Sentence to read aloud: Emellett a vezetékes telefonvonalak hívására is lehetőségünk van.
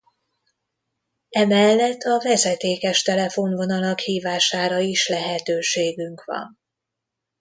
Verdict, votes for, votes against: accepted, 2, 0